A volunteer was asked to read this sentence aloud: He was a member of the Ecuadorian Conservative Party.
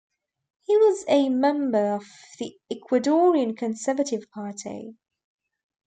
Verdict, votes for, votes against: accepted, 2, 0